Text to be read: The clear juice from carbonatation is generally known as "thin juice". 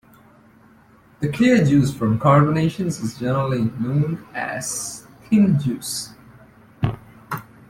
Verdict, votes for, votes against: rejected, 0, 2